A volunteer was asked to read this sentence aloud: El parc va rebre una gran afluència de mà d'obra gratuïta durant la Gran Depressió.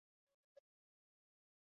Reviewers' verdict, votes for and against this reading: rejected, 0, 2